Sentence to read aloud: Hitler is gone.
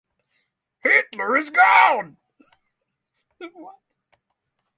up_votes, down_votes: 3, 3